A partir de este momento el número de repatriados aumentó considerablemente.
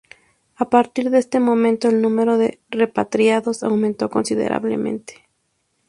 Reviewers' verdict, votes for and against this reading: rejected, 2, 2